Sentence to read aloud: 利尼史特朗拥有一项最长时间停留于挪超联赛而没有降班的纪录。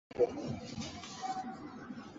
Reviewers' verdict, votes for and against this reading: rejected, 3, 4